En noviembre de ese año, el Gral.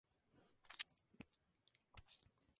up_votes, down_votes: 0, 2